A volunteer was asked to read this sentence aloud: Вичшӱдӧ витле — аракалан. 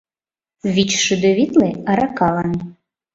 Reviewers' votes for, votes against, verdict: 2, 0, accepted